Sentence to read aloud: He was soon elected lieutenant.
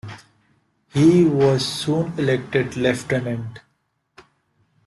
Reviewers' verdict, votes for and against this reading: rejected, 1, 2